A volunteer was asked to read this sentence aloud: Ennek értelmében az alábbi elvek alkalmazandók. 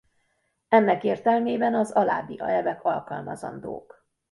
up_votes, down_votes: 0, 2